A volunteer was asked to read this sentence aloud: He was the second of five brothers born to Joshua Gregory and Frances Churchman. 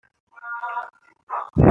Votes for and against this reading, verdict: 0, 2, rejected